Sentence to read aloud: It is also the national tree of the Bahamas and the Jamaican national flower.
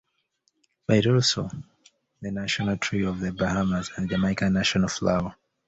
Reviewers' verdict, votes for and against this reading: rejected, 0, 2